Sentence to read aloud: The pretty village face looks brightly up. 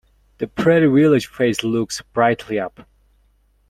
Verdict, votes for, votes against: rejected, 1, 2